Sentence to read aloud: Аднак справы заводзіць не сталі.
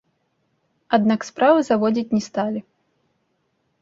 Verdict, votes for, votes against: accepted, 2, 0